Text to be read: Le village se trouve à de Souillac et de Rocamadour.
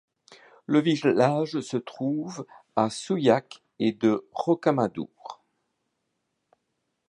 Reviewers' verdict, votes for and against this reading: rejected, 0, 2